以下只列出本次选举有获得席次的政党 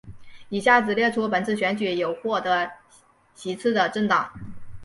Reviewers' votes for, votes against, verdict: 2, 1, accepted